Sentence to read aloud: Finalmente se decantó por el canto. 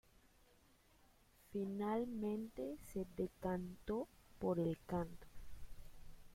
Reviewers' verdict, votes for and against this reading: rejected, 0, 2